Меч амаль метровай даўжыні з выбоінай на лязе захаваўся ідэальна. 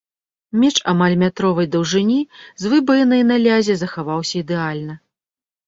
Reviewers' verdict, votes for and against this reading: rejected, 0, 2